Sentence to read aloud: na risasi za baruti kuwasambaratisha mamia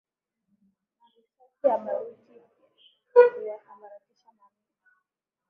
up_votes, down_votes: 0, 2